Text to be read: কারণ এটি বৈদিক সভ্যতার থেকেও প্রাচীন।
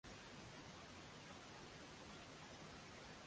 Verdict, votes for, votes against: rejected, 0, 2